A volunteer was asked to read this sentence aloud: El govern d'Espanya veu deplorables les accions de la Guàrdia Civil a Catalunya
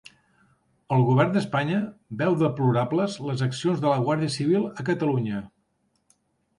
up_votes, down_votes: 2, 0